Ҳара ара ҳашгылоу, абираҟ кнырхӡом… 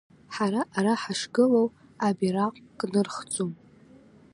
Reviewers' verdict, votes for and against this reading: accepted, 2, 0